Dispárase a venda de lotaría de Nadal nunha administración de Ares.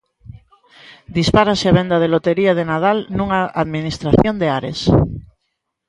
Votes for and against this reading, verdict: 0, 2, rejected